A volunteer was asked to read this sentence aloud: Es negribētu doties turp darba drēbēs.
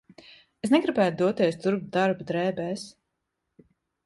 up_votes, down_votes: 2, 1